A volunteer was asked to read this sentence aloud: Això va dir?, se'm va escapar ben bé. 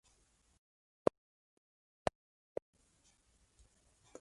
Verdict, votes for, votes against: rejected, 0, 4